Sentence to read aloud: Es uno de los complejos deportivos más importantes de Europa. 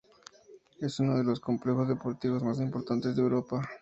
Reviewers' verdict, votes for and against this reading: accepted, 2, 0